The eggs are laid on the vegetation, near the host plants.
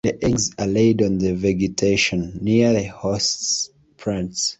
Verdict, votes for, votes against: accepted, 2, 0